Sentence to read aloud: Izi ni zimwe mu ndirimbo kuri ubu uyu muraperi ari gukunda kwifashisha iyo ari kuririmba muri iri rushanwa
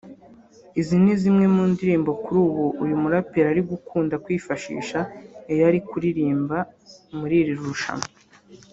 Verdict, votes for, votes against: accepted, 2, 0